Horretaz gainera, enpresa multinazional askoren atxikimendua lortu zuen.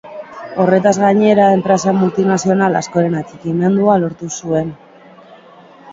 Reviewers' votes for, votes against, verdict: 2, 0, accepted